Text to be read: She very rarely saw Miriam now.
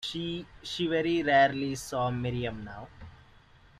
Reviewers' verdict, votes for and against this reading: rejected, 1, 2